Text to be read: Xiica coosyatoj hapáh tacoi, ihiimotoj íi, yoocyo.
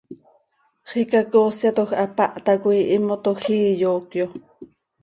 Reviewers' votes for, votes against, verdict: 2, 0, accepted